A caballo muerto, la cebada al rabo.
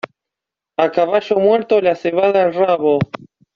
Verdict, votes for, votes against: accepted, 3, 0